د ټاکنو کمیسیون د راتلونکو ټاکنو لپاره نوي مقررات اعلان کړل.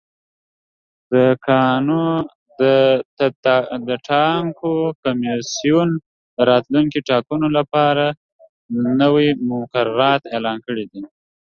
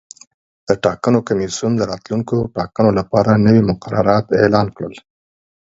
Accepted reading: second